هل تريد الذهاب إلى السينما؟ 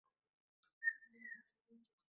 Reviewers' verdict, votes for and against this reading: rejected, 0, 2